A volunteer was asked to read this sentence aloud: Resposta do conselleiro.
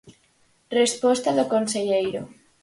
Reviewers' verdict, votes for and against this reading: accepted, 4, 0